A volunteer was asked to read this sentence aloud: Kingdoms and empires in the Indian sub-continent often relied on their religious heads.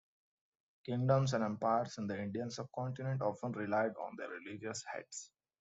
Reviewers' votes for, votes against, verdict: 2, 0, accepted